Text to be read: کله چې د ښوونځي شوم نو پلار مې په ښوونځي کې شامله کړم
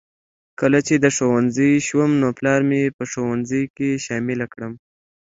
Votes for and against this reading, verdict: 2, 0, accepted